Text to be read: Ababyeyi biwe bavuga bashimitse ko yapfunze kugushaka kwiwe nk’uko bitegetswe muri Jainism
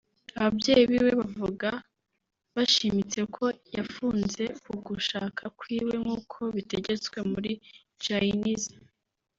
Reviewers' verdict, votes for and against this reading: accepted, 2, 1